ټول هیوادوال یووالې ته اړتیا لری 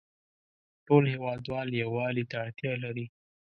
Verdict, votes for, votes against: accepted, 2, 0